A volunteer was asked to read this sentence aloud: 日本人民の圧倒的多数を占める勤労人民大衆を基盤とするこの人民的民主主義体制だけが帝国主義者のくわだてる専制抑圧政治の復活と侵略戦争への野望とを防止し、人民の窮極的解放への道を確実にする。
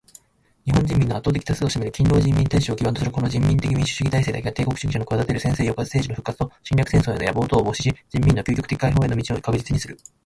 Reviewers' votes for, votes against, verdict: 0, 2, rejected